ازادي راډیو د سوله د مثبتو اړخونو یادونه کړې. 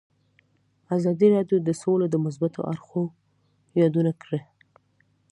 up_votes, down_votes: 2, 0